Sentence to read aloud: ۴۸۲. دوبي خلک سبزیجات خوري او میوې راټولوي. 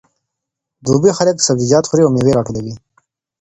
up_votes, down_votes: 0, 2